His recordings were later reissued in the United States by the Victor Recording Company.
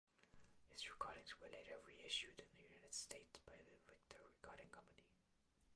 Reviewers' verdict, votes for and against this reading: rejected, 1, 2